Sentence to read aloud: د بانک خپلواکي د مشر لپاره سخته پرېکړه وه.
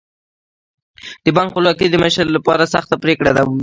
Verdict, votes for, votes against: rejected, 0, 2